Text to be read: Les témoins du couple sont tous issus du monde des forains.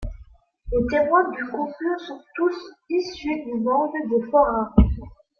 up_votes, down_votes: 2, 1